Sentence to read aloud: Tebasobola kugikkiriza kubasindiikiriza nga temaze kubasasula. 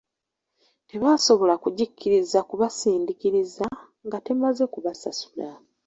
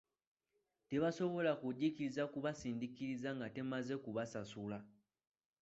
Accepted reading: second